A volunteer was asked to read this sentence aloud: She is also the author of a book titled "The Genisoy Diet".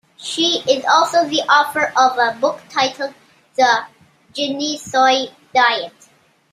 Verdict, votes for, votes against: accepted, 2, 1